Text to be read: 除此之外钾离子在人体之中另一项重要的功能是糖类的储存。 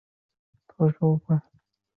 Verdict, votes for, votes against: rejected, 0, 2